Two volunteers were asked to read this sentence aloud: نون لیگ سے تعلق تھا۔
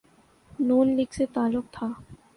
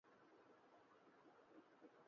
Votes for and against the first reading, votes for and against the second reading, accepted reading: 2, 0, 3, 3, first